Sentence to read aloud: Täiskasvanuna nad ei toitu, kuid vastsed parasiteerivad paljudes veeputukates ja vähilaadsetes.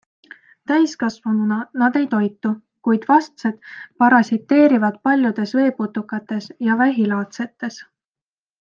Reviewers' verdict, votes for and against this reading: accepted, 2, 0